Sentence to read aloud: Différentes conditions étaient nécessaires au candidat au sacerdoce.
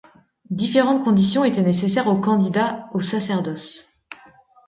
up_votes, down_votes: 2, 0